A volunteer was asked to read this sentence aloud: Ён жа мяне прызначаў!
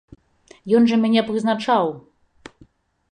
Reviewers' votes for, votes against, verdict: 2, 0, accepted